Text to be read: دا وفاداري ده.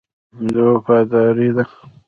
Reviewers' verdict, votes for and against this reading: accepted, 2, 1